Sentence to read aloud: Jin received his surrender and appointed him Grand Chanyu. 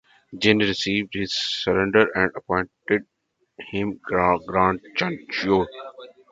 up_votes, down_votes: 0, 2